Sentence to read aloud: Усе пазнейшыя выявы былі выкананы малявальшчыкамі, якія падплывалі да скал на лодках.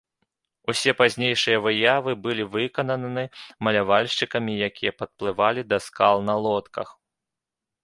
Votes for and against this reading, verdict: 2, 0, accepted